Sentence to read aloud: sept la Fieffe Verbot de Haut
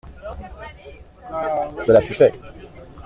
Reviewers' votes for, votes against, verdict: 0, 2, rejected